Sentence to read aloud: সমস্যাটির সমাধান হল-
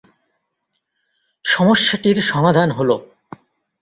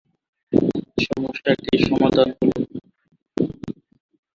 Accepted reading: first